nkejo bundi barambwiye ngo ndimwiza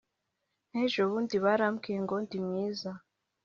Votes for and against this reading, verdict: 0, 2, rejected